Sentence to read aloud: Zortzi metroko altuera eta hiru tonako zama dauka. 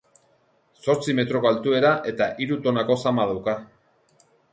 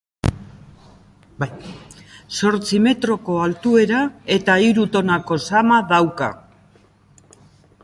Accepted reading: first